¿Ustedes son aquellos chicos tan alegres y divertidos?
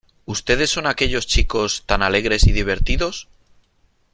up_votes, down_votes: 2, 0